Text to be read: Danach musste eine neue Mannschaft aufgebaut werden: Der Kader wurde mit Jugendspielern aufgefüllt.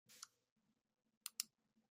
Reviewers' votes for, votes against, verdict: 0, 2, rejected